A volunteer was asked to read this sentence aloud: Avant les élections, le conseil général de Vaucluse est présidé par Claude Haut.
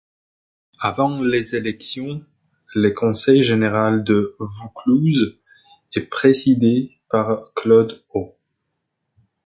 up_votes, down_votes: 2, 1